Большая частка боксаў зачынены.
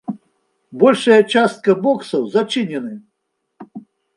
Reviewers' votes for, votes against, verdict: 2, 0, accepted